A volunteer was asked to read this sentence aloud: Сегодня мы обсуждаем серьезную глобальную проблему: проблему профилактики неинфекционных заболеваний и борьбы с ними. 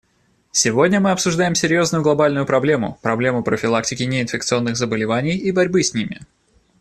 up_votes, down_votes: 2, 0